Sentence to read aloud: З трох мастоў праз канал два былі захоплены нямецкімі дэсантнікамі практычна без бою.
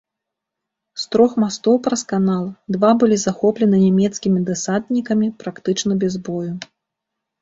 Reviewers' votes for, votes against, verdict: 2, 0, accepted